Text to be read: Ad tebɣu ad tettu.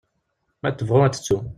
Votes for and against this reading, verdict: 1, 2, rejected